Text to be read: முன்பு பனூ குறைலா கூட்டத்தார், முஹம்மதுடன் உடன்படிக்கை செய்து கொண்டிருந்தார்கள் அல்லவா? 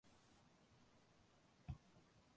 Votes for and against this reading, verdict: 1, 2, rejected